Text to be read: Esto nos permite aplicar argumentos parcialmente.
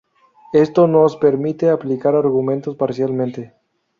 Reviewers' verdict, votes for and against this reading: rejected, 0, 2